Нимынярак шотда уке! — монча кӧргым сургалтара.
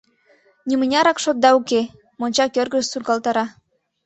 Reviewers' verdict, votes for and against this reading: rejected, 1, 2